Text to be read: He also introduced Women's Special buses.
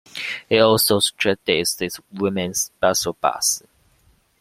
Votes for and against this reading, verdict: 0, 2, rejected